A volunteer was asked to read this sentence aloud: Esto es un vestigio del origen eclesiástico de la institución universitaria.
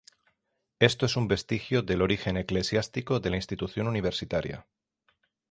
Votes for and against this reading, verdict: 6, 0, accepted